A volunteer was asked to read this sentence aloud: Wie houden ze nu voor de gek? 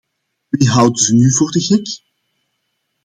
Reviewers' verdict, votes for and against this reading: accepted, 2, 0